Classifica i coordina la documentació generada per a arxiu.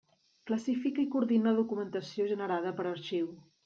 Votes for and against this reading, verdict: 1, 2, rejected